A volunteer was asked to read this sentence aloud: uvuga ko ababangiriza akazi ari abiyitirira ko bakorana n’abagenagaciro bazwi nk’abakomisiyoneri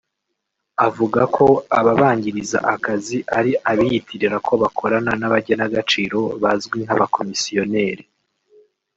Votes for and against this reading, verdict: 0, 2, rejected